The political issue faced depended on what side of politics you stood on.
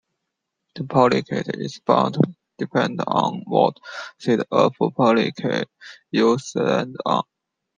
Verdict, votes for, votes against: rejected, 1, 2